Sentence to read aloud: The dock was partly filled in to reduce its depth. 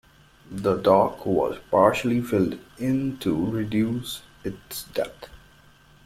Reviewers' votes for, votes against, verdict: 0, 2, rejected